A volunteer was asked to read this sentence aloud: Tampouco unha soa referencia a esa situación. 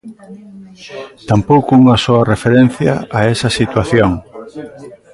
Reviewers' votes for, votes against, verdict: 1, 2, rejected